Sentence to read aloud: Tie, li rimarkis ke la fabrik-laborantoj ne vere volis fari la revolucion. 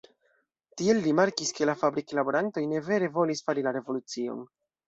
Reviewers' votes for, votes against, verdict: 1, 2, rejected